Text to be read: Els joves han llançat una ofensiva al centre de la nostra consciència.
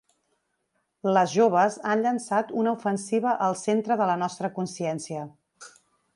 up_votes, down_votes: 1, 4